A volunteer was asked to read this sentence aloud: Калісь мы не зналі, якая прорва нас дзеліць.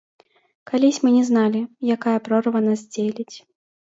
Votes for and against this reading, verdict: 1, 2, rejected